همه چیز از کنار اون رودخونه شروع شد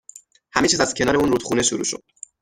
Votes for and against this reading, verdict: 3, 6, rejected